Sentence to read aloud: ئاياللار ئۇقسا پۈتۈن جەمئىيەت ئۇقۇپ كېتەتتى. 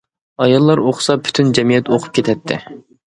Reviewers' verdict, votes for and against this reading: accepted, 2, 0